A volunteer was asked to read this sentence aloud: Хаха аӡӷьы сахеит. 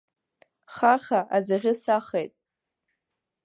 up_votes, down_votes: 2, 1